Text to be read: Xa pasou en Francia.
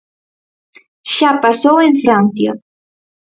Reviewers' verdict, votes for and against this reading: accepted, 4, 0